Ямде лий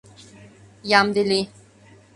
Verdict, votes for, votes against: accepted, 2, 0